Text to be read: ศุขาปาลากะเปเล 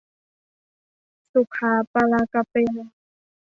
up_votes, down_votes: 0, 2